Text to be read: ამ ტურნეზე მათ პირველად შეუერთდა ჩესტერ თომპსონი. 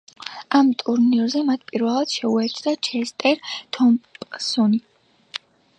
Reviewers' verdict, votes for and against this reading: rejected, 0, 2